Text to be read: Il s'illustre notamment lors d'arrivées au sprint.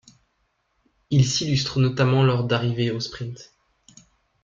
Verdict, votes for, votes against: accepted, 2, 0